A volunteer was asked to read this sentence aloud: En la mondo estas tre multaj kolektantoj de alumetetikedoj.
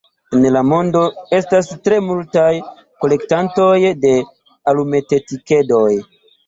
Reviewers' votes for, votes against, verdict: 1, 2, rejected